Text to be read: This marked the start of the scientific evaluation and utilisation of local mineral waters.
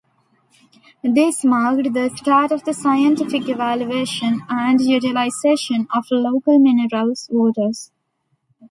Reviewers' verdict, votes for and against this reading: rejected, 0, 2